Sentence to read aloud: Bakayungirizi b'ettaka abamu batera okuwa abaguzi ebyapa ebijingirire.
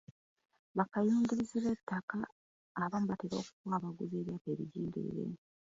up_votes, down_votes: 1, 2